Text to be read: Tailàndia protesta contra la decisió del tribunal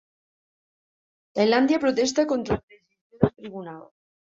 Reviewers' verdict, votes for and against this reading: rejected, 0, 2